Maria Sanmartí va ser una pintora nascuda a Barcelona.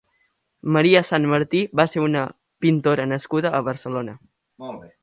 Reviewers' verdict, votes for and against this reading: rejected, 1, 2